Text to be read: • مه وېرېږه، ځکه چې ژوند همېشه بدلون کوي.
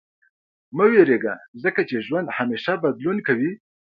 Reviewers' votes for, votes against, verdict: 2, 1, accepted